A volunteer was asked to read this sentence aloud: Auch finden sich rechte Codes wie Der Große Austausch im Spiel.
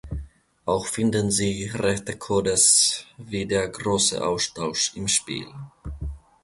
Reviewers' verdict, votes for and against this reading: rejected, 1, 2